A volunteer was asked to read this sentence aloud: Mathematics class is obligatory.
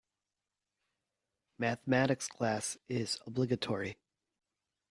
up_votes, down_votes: 2, 0